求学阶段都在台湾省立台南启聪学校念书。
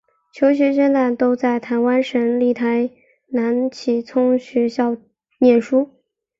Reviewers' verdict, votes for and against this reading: rejected, 0, 2